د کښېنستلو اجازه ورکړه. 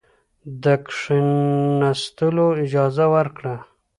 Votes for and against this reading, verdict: 2, 0, accepted